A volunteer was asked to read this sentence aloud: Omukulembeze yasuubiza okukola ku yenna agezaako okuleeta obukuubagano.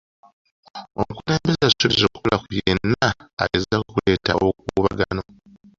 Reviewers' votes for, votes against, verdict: 2, 1, accepted